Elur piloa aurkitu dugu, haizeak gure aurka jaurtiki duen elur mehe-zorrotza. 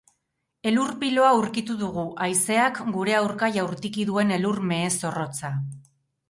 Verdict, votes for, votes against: rejected, 2, 2